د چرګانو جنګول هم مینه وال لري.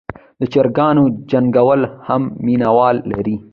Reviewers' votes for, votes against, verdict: 1, 2, rejected